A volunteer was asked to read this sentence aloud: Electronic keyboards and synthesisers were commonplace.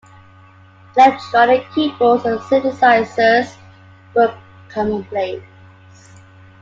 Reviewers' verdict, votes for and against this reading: accepted, 2, 1